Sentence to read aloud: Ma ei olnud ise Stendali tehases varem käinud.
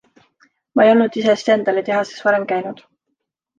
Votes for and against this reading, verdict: 2, 0, accepted